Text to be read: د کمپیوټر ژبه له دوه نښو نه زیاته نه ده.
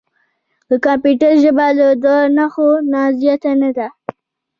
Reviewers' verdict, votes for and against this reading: rejected, 1, 2